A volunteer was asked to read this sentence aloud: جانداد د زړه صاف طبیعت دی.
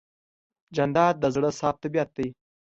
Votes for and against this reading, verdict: 2, 0, accepted